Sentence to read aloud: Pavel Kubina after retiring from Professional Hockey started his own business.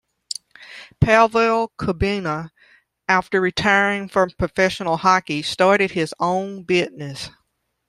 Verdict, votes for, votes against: accepted, 2, 0